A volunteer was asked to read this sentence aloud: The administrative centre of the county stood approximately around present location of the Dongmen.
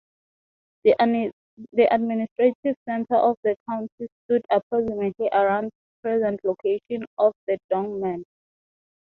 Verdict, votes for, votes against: accepted, 2, 0